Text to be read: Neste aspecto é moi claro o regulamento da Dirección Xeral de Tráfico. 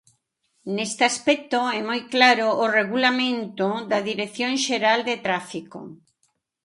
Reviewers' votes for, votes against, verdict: 2, 0, accepted